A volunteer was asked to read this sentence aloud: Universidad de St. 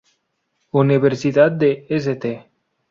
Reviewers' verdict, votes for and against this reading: accepted, 2, 0